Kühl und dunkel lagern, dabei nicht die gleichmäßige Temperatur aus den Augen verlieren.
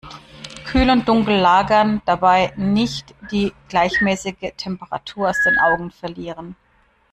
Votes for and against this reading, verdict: 2, 0, accepted